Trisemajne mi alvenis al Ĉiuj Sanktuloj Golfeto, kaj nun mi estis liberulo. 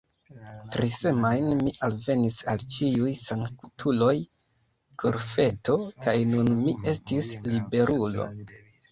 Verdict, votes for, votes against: accepted, 2, 1